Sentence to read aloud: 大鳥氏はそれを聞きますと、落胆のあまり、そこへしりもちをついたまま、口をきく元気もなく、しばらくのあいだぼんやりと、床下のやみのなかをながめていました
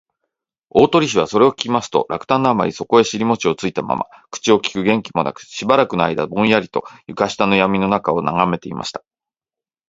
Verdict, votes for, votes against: rejected, 1, 2